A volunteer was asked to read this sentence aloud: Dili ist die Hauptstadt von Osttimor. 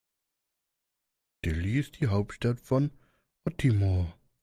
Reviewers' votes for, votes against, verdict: 0, 2, rejected